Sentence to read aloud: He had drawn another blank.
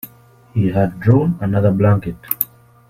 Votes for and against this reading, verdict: 0, 2, rejected